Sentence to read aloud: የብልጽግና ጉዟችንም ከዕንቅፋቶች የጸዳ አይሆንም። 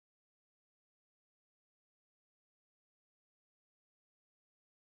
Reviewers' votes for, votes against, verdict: 0, 2, rejected